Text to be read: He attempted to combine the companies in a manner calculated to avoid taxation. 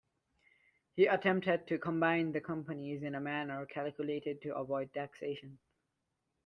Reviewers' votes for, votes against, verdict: 2, 0, accepted